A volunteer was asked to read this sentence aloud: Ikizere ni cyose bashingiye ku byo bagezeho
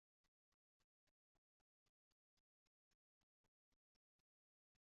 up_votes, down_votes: 2, 0